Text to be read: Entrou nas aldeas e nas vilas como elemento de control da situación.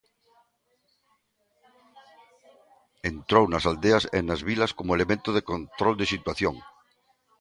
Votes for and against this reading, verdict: 0, 2, rejected